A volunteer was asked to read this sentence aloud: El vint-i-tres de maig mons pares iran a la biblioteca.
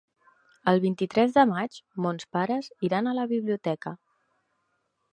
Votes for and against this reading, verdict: 3, 0, accepted